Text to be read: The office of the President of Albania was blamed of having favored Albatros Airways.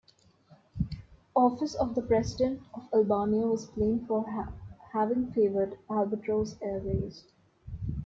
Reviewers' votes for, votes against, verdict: 0, 2, rejected